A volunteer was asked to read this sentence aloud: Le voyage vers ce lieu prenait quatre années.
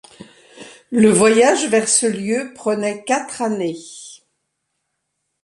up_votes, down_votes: 2, 0